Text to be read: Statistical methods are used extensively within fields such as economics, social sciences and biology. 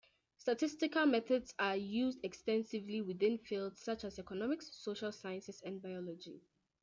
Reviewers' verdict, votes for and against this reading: accepted, 2, 0